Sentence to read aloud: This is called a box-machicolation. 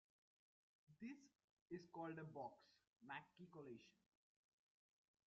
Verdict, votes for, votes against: rejected, 1, 2